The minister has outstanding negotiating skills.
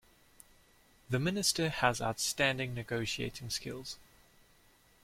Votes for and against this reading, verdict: 2, 0, accepted